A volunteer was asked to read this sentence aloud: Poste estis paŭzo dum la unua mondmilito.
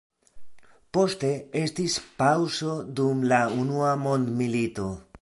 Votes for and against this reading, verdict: 2, 0, accepted